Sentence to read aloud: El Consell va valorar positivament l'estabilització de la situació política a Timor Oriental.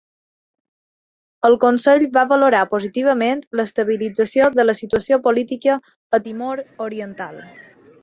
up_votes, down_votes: 4, 0